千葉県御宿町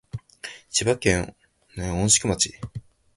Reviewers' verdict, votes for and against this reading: accepted, 2, 0